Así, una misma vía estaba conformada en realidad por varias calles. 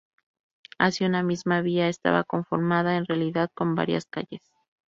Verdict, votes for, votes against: rejected, 2, 2